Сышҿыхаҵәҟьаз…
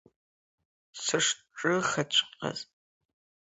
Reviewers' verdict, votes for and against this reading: rejected, 1, 2